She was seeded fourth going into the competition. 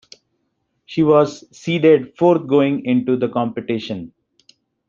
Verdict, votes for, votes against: accepted, 2, 0